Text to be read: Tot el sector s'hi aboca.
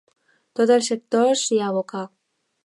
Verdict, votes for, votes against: accepted, 2, 0